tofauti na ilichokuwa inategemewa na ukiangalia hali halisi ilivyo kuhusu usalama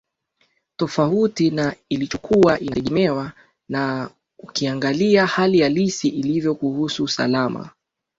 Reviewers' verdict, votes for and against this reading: accepted, 2, 0